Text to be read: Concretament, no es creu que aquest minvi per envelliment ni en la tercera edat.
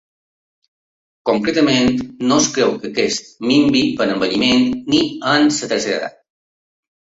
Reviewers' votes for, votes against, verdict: 1, 2, rejected